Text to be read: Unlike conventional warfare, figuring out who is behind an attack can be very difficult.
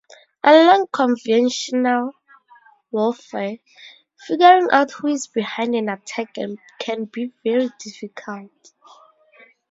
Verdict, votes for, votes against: rejected, 0, 2